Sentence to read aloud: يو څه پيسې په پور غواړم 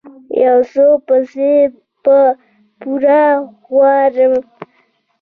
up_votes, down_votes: 1, 2